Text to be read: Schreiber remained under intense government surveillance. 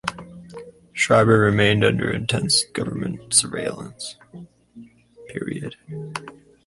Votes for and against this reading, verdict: 0, 2, rejected